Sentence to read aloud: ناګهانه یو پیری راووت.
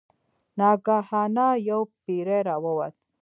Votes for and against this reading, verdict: 0, 2, rejected